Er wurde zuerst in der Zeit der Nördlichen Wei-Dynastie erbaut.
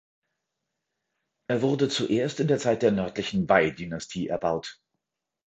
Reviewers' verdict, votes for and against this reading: accepted, 4, 0